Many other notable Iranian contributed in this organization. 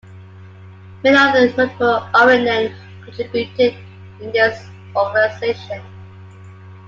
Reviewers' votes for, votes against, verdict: 0, 2, rejected